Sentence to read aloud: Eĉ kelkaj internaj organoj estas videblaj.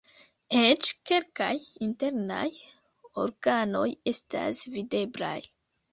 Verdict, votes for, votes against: accepted, 3, 2